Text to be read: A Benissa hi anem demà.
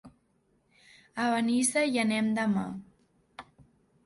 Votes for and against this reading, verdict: 2, 0, accepted